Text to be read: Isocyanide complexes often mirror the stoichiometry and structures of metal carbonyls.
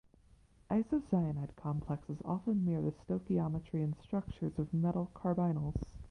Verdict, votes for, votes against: accepted, 2, 1